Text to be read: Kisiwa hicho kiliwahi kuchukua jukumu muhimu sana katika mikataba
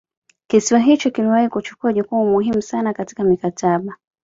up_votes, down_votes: 2, 0